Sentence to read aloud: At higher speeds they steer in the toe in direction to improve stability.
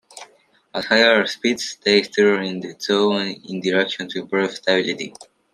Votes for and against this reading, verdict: 0, 2, rejected